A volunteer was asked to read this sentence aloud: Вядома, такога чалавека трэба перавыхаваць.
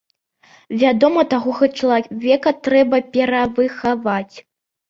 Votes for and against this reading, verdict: 1, 2, rejected